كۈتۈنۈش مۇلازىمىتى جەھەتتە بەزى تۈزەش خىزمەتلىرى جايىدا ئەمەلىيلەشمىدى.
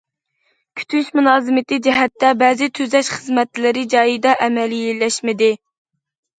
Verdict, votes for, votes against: rejected, 0, 2